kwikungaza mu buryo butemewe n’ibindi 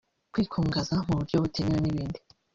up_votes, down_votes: 0, 2